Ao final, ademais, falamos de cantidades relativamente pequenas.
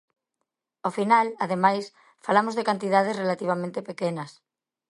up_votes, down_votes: 2, 0